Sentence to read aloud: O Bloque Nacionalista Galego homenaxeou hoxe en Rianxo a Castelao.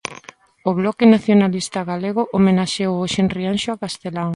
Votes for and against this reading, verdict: 2, 0, accepted